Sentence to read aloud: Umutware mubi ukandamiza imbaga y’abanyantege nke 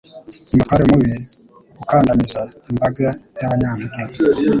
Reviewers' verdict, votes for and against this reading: rejected, 1, 3